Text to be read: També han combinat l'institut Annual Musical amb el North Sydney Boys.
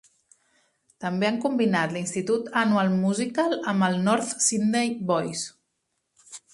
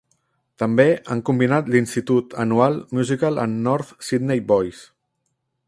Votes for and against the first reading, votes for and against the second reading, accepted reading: 3, 0, 0, 2, first